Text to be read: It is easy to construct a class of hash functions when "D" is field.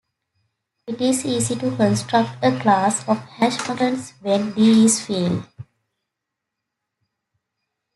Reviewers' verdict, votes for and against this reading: accepted, 2, 1